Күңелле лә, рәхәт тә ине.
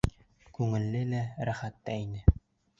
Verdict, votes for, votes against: accepted, 2, 0